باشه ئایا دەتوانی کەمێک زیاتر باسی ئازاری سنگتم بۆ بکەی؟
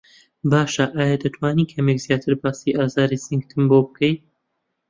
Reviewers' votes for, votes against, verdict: 2, 0, accepted